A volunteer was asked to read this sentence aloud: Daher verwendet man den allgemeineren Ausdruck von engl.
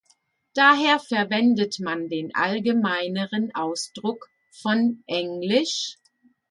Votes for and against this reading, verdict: 2, 0, accepted